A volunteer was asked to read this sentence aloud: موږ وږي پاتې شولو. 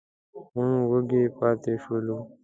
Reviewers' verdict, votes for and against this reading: rejected, 1, 2